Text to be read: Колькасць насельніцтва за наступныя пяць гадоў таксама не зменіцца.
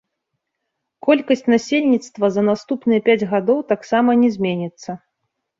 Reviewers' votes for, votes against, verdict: 1, 2, rejected